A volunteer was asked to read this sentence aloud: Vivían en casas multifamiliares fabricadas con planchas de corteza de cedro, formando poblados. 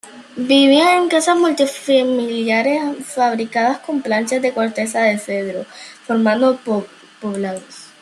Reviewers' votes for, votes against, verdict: 0, 2, rejected